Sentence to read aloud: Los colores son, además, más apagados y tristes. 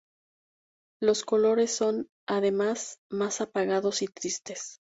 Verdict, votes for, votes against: accepted, 2, 0